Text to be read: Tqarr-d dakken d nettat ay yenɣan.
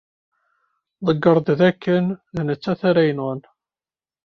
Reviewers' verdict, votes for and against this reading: rejected, 0, 2